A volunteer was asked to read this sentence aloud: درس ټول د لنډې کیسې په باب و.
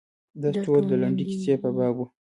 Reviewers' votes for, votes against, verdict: 2, 0, accepted